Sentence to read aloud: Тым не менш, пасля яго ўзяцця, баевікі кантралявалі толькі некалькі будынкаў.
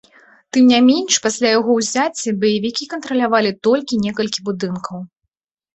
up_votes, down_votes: 0, 2